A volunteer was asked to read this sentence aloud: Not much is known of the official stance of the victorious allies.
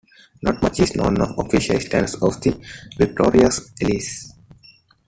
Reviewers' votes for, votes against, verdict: 1, 2, rejected